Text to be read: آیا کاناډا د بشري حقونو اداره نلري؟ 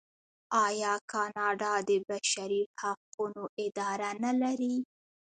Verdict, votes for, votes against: rejected, 0, 2